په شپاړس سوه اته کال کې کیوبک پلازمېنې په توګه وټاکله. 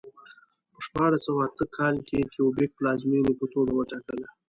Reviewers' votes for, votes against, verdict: 2, 0, accepted